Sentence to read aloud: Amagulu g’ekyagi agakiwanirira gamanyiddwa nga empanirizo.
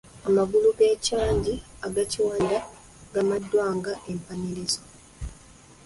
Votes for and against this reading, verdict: 0, 2, rejected